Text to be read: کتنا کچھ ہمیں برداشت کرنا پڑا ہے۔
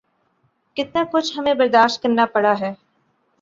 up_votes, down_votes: 5, 0